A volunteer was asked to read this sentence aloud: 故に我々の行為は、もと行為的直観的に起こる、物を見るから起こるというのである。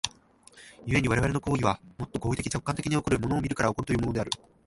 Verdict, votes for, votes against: accepted, 2, 0